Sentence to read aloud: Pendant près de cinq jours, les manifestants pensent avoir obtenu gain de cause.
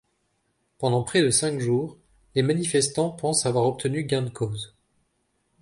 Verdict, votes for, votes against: accepted, 2, 0